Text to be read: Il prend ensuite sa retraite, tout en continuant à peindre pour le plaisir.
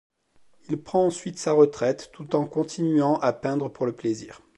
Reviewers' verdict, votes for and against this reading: accepted, 2, 0